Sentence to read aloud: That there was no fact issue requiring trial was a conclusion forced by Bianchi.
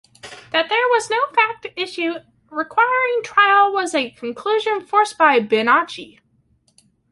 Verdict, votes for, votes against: rejected, 0, 2